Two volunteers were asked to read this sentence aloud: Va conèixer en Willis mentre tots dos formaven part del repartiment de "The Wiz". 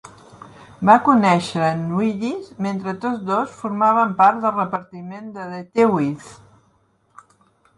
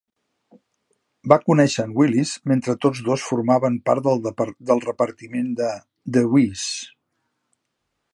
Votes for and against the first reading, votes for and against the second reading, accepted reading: 2, 0, 0, 3, first